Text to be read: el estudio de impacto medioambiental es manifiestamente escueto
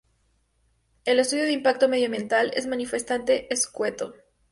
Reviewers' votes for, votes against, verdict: 2, 0, accepted